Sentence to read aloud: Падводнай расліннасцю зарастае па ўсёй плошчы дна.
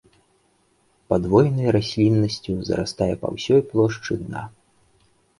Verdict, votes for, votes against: rejected, 0, 2